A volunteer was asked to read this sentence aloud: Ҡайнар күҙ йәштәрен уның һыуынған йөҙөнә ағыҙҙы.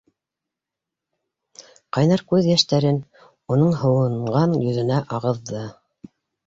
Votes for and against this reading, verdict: 2, 0, accepted